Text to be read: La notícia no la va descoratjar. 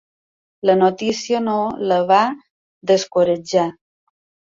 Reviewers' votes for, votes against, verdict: 2, 0, accepted